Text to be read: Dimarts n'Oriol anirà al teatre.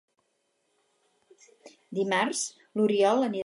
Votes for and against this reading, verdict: 0, 4, rejected